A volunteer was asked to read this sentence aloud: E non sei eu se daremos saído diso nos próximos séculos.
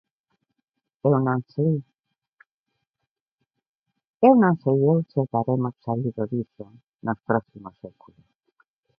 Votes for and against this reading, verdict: 0, 2, rejected